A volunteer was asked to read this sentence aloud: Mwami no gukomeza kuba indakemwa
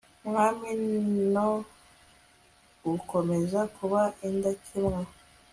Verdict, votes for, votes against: rejected, 1, 2